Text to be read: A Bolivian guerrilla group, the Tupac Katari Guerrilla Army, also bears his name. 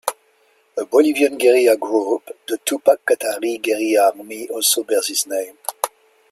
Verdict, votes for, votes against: accepted, 2, 0